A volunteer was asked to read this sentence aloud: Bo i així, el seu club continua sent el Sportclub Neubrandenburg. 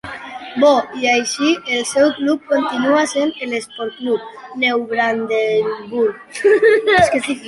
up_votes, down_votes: 0, 2